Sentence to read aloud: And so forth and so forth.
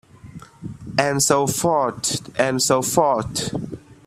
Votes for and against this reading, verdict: 2, 0, accepted